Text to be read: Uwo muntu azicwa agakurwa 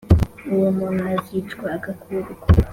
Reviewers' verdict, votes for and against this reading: accepted, 3, 0